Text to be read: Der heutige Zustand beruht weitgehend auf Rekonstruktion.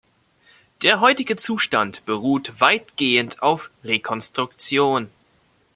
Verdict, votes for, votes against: accepted, 2, 0